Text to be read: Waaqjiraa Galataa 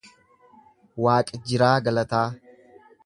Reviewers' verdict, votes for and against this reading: accepted, 2, 0